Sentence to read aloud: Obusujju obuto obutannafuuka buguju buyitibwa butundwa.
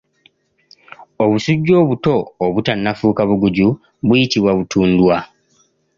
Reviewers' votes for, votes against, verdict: 2, 0, accepted